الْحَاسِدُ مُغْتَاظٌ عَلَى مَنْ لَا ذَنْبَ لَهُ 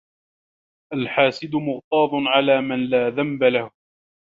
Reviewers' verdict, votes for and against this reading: accepted, 2, 0